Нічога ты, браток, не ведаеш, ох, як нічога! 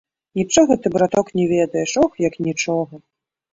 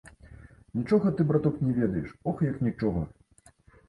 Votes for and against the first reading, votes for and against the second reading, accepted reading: 2, 0, 1, 2, first